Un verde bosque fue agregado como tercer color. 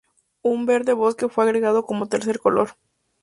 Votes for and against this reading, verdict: 2, 0, accepted